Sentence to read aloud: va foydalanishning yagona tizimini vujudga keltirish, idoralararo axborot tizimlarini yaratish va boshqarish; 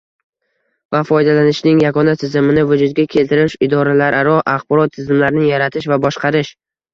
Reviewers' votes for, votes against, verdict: 2, 0, accepted